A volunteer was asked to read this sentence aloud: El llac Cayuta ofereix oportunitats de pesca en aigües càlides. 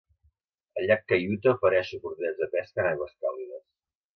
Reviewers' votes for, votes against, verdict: 1, 2, rejected